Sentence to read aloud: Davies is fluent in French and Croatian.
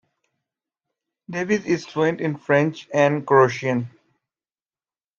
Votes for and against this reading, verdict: 2, 1, accepted